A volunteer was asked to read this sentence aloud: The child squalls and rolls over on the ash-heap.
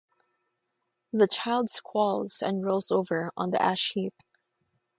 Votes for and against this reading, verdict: 6, 0, accepted